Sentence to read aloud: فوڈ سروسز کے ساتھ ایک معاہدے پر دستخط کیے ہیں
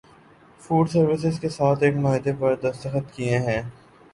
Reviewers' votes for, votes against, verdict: 2, 0, accepted